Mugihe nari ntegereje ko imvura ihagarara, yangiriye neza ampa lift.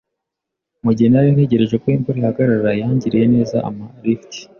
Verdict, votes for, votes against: accepted, 2, 0